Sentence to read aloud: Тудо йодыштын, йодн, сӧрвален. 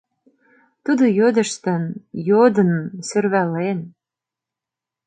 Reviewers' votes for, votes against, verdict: 0, 2, rejected